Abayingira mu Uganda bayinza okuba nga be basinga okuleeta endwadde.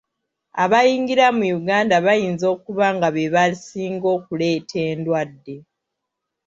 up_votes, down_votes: 1, 2